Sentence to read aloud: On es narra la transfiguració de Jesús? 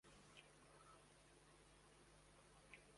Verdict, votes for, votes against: rejected, 0, 2